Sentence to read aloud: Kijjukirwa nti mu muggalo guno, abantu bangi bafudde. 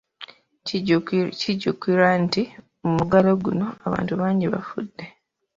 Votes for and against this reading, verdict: 2, 0, accepted